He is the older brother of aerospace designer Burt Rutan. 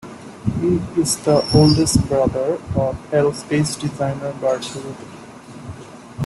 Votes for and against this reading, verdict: 0, 2, rejected